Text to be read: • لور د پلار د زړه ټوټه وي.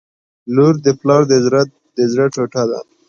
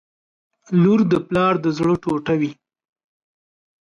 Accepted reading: second